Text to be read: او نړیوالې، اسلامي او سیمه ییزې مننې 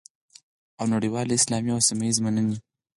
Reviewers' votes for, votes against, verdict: 4, 2, accepted